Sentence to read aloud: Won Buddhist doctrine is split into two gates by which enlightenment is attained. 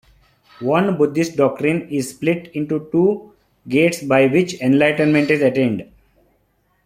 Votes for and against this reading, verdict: 2, 1, accepted